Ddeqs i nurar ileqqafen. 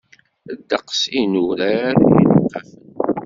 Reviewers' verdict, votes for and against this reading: rejected, 0, 2